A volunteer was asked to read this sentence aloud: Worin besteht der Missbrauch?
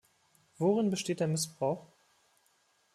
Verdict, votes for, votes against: accepted, 2, 0